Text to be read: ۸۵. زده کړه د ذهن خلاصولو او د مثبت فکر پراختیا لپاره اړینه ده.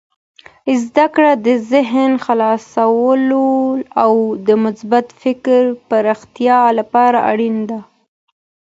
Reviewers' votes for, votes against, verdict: 0, 2, rejected